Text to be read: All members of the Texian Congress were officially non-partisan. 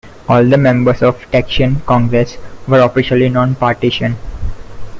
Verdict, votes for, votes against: rejected, 0, 2